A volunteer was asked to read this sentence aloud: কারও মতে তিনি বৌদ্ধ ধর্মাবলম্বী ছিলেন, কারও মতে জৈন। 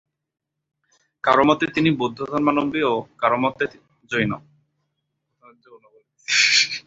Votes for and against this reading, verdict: 0, 2, rejected